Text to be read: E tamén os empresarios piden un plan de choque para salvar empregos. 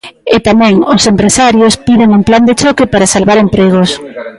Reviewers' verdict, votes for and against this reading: rejected, 0, 2